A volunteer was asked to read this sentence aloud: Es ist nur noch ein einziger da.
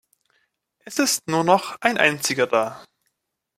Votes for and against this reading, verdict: 2, 0, accepted